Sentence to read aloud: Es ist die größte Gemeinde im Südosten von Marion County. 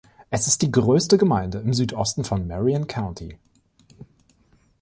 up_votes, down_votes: 3, 0